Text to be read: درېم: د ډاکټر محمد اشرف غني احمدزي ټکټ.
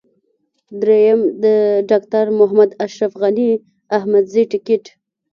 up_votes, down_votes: 2, 1